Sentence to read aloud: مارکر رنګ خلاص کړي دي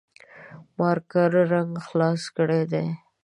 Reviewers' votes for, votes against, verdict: 2, 0, accepted